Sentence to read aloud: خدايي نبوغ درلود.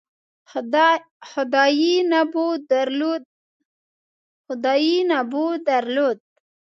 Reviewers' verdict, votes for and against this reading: rejected, 1, 2